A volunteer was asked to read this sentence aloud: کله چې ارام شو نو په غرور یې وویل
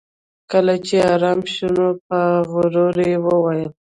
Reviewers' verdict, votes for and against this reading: rejected, 0, 2